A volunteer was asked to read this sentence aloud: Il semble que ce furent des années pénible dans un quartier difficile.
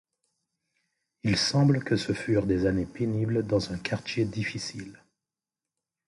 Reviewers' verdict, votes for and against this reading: accepted, 2, 0